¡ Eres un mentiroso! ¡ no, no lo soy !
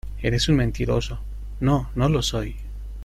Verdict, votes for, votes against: accepted, 2, 0